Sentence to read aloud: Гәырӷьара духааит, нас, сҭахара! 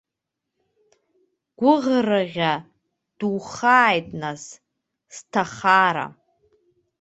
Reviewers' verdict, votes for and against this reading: rejected, 0, 2